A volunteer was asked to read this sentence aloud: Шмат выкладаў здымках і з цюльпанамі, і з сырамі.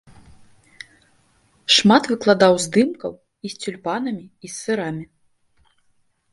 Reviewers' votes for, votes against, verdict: 1, 2, rejected